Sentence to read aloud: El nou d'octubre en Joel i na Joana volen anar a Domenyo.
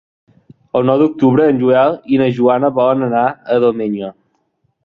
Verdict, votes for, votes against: accepted, 2, 0